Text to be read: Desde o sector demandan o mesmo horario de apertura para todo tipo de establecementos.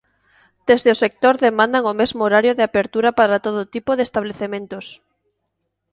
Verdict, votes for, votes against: accepted, 2, 0